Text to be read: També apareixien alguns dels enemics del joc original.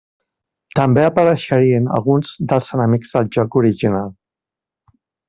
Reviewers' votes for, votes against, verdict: 0, 2, rejected